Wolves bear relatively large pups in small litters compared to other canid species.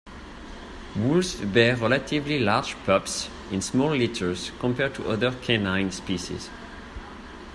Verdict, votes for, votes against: rejected, 0, 2